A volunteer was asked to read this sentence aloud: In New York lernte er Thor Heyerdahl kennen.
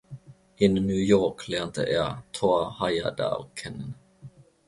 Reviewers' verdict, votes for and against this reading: accepted, 2, 0